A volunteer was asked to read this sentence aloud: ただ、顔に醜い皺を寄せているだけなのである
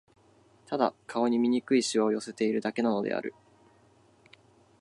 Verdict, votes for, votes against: accepted, 3, 0